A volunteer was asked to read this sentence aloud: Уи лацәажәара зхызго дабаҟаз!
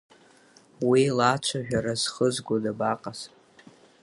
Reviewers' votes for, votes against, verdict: 6, 0, accepted